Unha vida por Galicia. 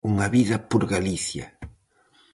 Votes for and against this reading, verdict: 4, 0, accepted